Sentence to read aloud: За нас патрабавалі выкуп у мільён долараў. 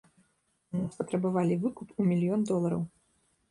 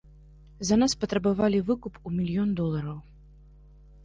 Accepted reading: second